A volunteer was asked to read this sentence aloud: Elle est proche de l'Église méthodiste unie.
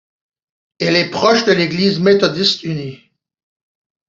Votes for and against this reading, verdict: 2, 0, accepted